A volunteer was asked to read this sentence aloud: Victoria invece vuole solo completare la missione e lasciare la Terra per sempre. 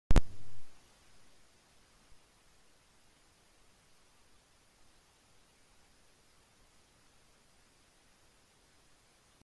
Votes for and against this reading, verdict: 0, 3, rejected